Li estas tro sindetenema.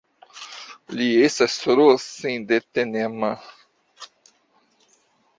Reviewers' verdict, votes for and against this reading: rejected, 0, 2